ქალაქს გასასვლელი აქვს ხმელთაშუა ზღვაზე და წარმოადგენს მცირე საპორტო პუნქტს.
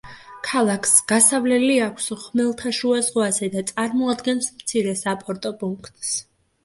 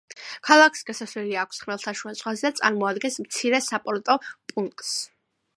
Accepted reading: second